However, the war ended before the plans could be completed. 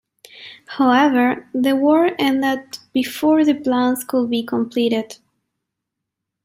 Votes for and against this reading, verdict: 2, 1, accepted